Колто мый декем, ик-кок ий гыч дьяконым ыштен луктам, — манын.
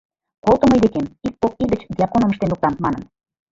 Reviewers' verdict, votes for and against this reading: accepted, 2, 1